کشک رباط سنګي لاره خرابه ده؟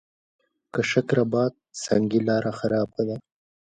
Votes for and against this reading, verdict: 0, 2, rejected